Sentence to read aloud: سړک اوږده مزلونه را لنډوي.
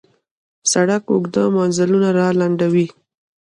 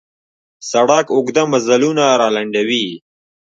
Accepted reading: second